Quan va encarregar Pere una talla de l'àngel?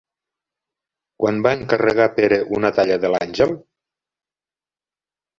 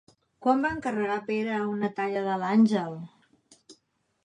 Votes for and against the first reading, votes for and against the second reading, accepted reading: 1, 2, 2, 0, second